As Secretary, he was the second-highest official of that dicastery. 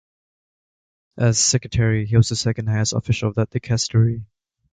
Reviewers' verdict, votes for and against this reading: accepted, 2, 0